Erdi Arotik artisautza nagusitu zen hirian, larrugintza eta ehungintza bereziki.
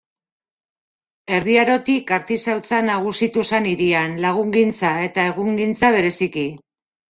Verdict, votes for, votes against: rejected, 0, 2